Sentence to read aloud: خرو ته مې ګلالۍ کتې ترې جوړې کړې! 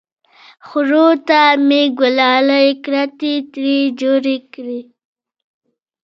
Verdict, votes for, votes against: accepted, 2, 0